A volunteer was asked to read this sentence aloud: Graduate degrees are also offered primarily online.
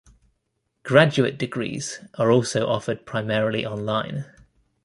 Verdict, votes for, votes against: accepted, 2, 1